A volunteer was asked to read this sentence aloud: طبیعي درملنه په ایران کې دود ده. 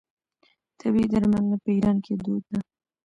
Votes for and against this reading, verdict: 1, 2, rejected